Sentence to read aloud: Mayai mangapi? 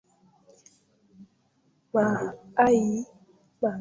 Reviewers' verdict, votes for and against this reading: rejected, 0, 2